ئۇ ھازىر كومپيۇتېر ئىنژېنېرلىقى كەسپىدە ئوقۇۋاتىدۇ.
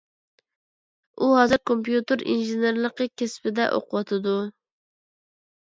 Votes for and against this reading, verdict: 2, 0, accepted